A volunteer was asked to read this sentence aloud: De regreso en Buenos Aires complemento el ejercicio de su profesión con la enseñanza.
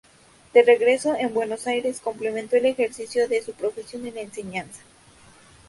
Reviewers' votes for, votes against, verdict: 0, 2, rejected